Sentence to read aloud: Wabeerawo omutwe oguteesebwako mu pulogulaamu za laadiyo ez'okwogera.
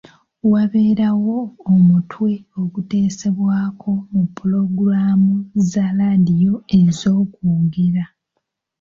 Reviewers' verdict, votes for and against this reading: accepted, 2, 0